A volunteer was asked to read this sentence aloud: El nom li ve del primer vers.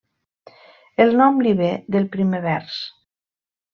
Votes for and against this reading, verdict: 3, 1, accepted